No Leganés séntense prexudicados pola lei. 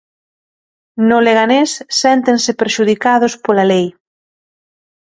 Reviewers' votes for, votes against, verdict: 1, 2, rejected